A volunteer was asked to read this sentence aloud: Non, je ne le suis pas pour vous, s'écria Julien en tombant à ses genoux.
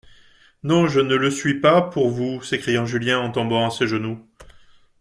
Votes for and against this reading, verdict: 0, 2, rejected